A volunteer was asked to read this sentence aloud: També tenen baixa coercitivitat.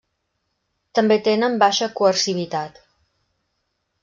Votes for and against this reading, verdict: 1, 2, rejected